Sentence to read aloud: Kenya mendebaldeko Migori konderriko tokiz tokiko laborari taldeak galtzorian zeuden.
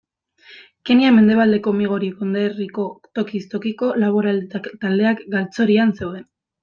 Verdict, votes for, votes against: rejected, 0, 2